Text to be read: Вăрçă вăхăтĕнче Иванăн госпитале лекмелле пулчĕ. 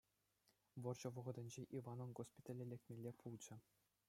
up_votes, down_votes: 2, 0